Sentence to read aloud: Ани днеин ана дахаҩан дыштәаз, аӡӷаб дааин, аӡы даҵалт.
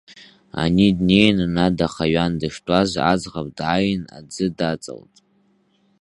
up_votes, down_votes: 2, 0